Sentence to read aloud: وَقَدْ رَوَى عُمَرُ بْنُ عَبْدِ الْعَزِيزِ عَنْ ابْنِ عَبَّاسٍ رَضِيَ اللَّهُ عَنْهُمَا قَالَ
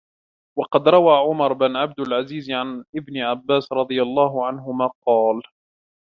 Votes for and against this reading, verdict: 0, 3, rejected